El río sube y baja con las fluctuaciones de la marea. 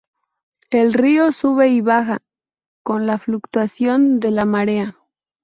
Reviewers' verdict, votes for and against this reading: rejected, 0, 2